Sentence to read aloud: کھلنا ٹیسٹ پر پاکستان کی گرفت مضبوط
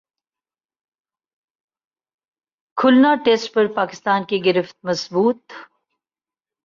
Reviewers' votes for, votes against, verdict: 0, 2, rejected